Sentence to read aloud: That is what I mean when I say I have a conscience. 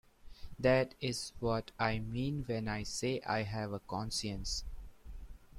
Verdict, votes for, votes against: rejected, 1, 2